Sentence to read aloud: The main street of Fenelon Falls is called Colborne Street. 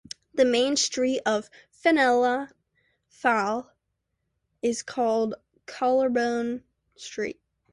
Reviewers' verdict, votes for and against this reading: accepted, 2, 1